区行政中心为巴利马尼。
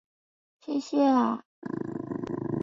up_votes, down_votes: 3, 4